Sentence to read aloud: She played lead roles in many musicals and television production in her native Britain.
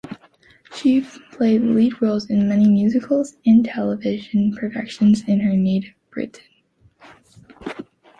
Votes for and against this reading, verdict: 2, 1, accepted